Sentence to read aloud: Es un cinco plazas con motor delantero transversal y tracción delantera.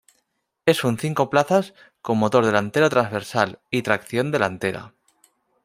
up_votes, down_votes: 2, 0